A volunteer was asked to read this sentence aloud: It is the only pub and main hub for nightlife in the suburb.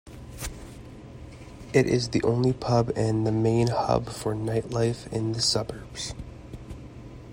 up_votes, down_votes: 2, 0